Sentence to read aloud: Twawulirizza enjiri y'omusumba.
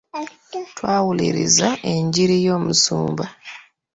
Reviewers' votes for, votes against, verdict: 2, 1, accepted